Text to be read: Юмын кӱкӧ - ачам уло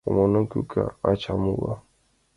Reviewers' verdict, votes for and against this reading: rejected, 1, 2